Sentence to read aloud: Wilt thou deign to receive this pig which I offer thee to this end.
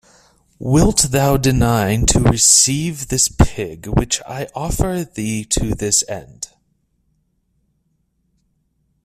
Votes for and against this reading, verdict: 0, 2, rejected